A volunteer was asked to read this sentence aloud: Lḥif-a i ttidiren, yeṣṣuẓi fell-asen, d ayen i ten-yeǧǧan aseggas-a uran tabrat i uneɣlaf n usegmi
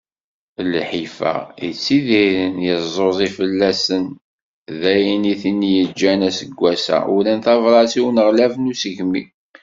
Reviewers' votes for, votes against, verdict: 1, 2, rejected